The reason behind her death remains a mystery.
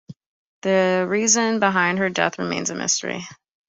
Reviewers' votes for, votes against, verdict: 2, 0, accepted